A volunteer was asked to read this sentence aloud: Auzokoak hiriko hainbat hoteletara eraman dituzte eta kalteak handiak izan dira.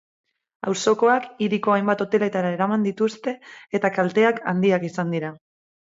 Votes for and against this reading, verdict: 6, 0, accepted